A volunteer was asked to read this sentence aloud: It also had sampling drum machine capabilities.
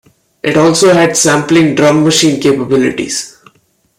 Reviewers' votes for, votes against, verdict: 2, 0, accepted